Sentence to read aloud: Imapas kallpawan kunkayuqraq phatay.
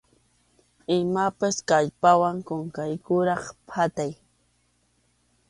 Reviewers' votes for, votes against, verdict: 2, 0, accepted